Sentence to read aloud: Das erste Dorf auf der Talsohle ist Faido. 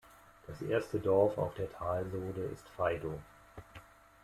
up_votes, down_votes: 2, 1